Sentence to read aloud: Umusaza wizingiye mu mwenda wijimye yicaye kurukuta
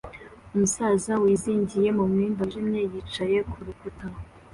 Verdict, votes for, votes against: accepted, 2, 0